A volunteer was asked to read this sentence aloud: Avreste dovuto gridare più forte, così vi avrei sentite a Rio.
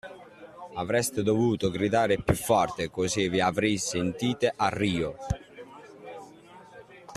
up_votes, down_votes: 2, 0